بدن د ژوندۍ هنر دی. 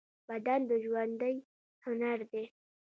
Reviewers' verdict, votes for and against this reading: accepted, 2, 0